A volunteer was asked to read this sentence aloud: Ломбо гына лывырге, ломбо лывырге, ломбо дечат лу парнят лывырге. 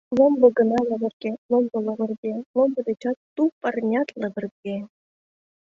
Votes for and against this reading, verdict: 1, 2, rejected